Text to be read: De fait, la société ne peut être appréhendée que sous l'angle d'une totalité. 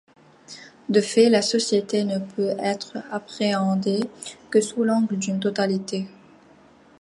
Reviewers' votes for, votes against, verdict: 2, 0, accepted